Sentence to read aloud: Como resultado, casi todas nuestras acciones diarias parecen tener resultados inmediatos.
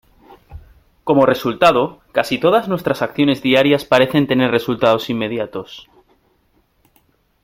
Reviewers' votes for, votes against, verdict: 1, 2, rejected